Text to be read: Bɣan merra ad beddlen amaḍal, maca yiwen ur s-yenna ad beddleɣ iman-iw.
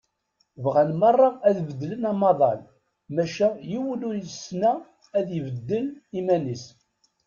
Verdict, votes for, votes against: rejected, 1, 2